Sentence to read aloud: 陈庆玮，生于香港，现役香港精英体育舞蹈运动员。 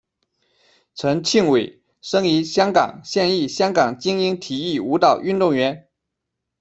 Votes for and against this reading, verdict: 2, 1, accepted